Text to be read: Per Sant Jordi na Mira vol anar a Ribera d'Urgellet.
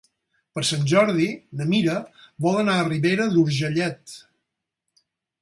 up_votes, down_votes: 4, 0